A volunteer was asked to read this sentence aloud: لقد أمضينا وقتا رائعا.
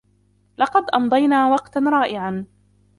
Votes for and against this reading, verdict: 1, 2, rejected